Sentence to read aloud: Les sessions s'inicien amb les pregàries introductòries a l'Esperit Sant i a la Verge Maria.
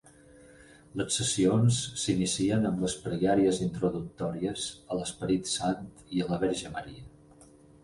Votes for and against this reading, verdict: 4, 0, accepted